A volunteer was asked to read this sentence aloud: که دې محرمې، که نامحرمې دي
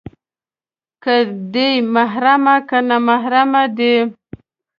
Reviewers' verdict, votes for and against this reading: accepted, 2, 0